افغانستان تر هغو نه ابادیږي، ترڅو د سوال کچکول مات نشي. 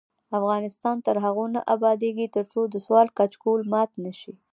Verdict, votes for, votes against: accepted, 2, 0